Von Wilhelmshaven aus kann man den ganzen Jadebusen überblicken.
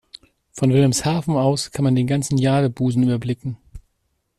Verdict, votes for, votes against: accepted, 2, 0